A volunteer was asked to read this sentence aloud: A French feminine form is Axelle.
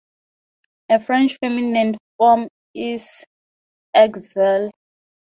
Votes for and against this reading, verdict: 2, 0, accepted